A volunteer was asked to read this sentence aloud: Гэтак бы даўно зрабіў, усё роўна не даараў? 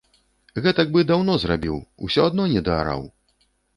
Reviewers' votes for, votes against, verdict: 2, 3, rejected